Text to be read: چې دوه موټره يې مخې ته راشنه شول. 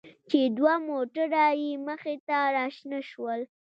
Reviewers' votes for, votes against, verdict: 2, 0, accepted